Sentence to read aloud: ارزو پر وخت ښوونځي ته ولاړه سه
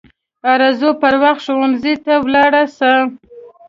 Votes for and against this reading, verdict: 2, 0, accepted